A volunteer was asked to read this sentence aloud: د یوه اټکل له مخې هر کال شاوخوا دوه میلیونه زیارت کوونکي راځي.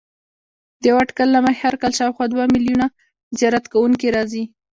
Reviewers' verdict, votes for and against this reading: accepted, 2, 0